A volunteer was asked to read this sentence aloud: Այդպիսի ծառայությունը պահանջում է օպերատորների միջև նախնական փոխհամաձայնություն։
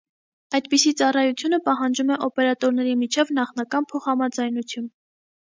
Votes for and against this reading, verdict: 2, 0, accepted